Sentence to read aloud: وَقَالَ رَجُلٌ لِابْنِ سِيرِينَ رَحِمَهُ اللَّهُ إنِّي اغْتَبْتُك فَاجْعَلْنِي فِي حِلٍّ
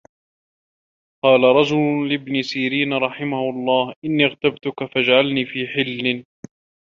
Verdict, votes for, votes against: rejected, 1, 2